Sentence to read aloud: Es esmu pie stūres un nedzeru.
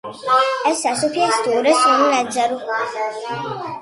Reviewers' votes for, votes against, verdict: 0, 2, rejected